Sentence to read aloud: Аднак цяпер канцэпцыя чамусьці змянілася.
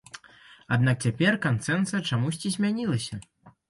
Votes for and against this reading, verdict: 0, 2, rejected